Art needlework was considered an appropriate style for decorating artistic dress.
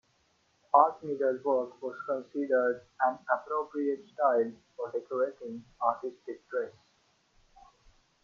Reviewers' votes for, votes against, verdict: 2, 1, accepted